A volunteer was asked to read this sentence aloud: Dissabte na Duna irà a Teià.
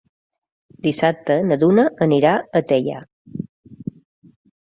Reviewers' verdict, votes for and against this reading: rejected, 0, 2